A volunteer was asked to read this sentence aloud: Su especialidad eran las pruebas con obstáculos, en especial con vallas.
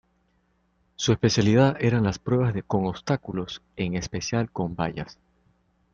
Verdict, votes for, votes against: rejected, 1, 2